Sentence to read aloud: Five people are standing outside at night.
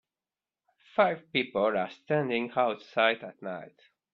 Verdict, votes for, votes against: accepted, 2, 1